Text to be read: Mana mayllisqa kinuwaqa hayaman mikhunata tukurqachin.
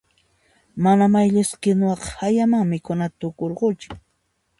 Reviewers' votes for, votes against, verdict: 2, 0, accepted